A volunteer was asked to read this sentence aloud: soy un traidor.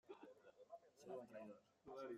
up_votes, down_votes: 0, 2